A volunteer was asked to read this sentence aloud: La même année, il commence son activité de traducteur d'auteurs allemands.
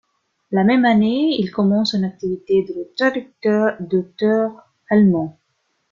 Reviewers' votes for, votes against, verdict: 1, 2, rejected